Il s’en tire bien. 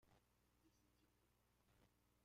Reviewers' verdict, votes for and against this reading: rejected, 0, 2